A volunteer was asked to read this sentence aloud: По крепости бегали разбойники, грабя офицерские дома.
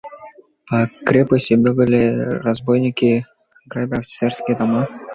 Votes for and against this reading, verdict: 2, 0, accepted